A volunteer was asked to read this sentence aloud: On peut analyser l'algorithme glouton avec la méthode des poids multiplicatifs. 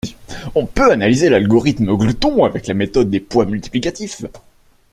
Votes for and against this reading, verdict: 2, 0, accepted